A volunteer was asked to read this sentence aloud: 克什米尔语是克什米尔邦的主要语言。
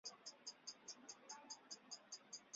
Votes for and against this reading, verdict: 0, 2, rejected